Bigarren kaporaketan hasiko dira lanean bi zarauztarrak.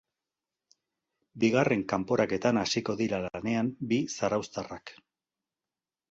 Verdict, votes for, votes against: accepted, 2, 0